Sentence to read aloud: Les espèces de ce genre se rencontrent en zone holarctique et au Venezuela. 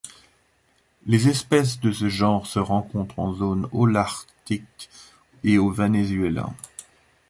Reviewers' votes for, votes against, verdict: 2, 1, accepted